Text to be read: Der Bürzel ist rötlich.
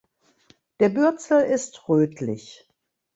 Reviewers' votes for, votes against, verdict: 2, 0, accepted